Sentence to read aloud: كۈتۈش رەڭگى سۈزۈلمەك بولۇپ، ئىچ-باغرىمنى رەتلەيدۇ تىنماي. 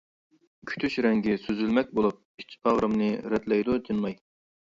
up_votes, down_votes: 2, 0